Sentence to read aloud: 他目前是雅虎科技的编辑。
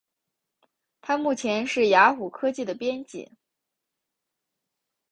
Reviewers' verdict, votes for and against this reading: accepted, 3, 0